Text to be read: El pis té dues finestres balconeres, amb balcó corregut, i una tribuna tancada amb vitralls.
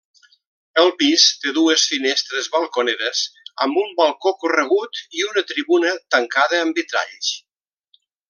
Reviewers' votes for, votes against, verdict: 1, 2, rejected